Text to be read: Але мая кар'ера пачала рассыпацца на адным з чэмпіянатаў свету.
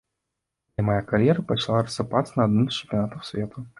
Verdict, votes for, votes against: rejected, 1, 2